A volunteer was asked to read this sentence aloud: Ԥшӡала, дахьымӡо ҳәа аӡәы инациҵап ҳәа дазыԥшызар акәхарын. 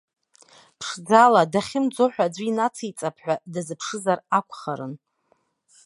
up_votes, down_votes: 0, 2